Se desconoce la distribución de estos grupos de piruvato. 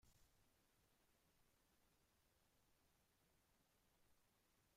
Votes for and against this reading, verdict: 0, 2, rejected